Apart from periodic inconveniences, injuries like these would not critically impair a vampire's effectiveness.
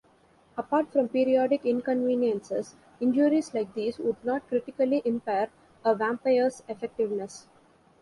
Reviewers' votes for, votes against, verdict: 2, 0, accepted